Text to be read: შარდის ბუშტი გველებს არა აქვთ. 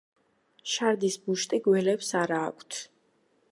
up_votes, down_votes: 2, 0